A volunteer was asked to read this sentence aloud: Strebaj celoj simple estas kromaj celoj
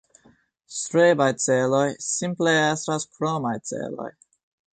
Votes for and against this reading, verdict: 2, 0, accepted